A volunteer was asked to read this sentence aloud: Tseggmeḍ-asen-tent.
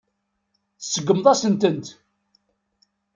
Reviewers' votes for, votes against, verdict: 2, 0, accepted